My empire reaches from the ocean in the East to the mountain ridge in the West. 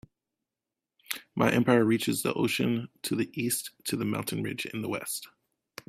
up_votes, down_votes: 1, 2